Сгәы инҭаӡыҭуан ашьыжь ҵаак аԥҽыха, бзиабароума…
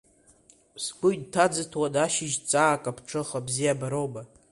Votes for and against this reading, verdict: 2, 0, accepted